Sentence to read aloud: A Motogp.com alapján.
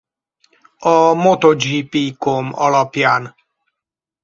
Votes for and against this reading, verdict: 2, 4, rejected